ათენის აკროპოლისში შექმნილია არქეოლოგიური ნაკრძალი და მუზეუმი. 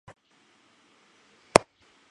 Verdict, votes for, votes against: rejected, 0, 2